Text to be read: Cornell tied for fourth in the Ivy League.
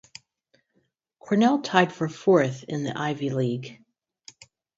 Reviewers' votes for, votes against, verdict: 4, 0, accepted